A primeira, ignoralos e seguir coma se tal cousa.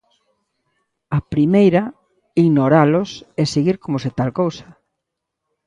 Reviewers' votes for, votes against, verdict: 2, 0, accepted